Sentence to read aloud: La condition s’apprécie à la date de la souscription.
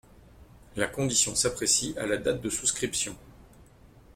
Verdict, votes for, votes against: rejected, 0, 2